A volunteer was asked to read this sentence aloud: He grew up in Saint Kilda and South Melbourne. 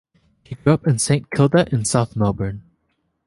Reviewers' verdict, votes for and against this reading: accepted, 2, 1